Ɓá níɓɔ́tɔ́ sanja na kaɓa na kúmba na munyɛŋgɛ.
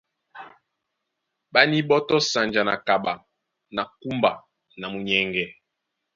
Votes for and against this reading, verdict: 2, 0, accepted